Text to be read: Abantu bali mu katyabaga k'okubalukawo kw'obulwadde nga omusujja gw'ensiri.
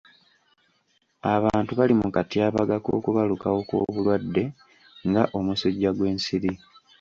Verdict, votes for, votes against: accepted, 2, 1